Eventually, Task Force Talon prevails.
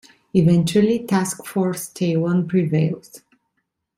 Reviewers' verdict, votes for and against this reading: accepted, 2, 1